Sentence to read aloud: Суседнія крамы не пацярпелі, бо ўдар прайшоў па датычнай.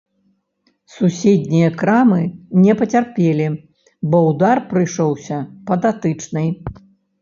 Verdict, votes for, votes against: rejected, 1, 2